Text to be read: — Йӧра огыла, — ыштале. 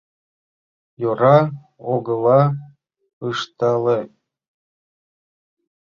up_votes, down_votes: 0, 2